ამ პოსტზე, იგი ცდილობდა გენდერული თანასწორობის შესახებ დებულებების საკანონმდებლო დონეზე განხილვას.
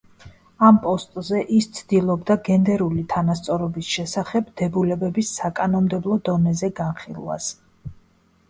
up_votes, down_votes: 1, 2